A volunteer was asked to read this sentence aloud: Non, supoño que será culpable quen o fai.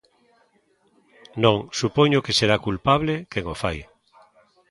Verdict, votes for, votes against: rejected, 0, 2